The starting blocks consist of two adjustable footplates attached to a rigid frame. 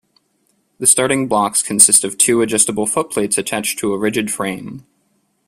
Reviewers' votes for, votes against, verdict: 2, 0, accepted